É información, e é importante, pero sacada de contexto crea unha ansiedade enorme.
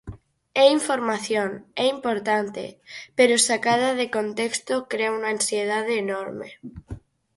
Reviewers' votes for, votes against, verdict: 0, 4, rejected